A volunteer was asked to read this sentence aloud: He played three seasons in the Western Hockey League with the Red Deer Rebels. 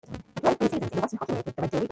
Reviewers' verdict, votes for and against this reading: rejected, 0, 2